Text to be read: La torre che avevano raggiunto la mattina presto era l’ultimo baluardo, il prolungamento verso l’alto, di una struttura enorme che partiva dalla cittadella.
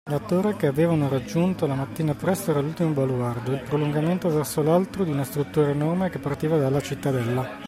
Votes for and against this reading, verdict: 2, 0, accepted